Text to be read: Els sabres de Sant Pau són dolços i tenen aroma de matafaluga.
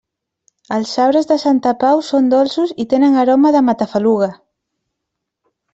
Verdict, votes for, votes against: rejected, 0, 2